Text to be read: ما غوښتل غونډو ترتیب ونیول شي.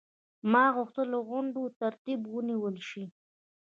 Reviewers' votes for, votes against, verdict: 1, 2, rejected